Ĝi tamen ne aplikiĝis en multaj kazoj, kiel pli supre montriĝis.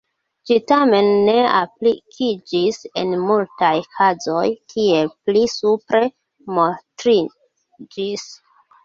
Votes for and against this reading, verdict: 2, 1, accepted